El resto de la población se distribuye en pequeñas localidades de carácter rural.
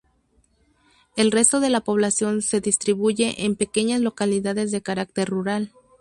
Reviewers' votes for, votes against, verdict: 2, 0, accepted